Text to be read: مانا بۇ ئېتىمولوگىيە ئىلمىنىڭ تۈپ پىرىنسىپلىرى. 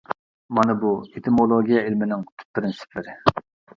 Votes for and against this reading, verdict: 2, 1, accepted